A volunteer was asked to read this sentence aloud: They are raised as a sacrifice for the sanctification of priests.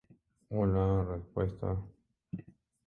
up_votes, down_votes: 0, 2